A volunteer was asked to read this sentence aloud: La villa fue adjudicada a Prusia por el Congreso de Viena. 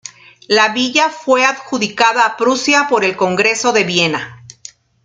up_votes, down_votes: 2, 0